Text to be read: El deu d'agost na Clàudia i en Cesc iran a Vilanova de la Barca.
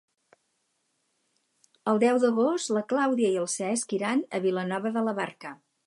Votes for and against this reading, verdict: 2, 4, rejected